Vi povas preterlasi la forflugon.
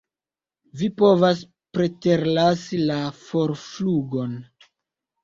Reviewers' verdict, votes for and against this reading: accepted, 2, 0